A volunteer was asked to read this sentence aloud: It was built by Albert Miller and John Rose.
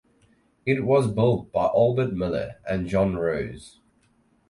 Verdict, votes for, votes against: accepted, 4, 0